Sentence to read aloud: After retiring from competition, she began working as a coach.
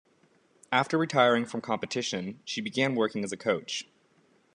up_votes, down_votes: 2, 0